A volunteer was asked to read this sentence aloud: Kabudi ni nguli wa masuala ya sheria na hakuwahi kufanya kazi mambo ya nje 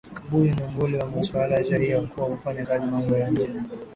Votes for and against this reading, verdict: 0, 2, rejected